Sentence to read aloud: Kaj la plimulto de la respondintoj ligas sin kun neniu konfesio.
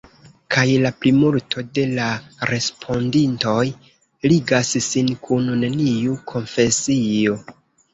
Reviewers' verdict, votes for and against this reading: accepted, 2, 1